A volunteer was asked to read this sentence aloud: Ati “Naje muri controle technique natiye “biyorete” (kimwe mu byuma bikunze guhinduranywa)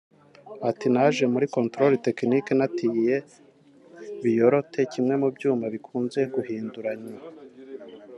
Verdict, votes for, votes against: accepted, 2, 0